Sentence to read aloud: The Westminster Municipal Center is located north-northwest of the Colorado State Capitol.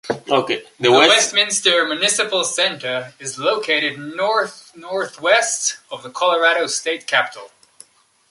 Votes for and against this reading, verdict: 0, 2, rejected